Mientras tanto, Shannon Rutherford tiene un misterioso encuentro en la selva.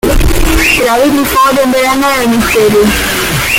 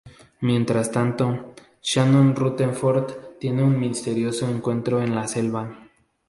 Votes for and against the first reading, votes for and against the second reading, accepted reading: 0, 2, 4, 0, second